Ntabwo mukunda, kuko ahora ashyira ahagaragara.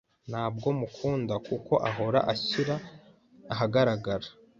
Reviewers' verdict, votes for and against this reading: accepted, 2, 0